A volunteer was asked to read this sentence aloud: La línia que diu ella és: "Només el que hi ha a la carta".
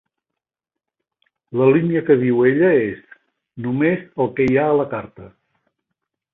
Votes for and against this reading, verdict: 3, 0, accepted